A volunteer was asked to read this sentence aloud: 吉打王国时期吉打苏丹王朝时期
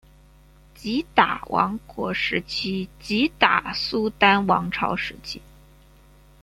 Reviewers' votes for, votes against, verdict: 1, 2, rejected